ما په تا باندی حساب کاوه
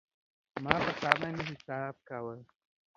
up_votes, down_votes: 2, 0